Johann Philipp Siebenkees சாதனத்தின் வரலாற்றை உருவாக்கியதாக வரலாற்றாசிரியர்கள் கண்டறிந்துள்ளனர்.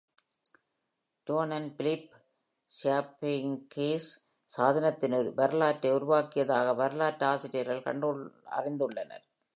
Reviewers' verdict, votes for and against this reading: rejected, 1, 2